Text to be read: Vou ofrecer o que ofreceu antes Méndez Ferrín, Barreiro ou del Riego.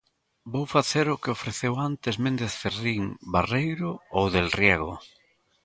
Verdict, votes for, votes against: rejected, 1, 2